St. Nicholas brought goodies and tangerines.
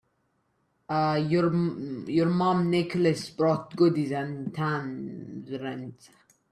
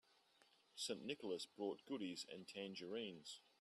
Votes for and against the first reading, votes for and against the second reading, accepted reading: 0, 2, 3, 0, second